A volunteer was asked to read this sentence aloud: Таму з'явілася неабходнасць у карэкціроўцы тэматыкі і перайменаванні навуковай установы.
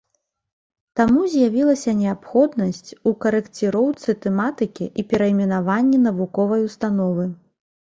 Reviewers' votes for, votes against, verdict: 2, 0, accepted